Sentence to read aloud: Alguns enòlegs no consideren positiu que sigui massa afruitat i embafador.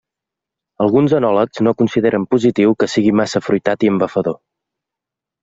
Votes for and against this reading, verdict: 2, 0, accepted